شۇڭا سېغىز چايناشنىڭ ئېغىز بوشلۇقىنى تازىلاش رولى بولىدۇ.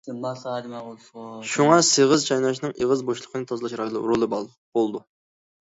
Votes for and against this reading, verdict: 0, 2, rejected